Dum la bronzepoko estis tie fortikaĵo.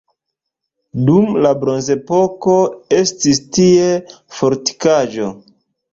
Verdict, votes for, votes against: accepted, 2, 1